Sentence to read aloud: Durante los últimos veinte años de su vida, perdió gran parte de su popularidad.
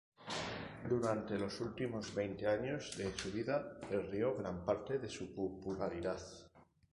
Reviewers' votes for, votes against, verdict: 2, 0, accepted